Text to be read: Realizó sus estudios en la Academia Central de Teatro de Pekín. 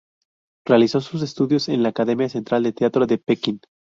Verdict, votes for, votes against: rejected, 0, 2